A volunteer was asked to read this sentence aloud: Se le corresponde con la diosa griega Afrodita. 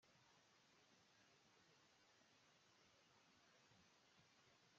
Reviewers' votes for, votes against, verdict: 0, 2, rejected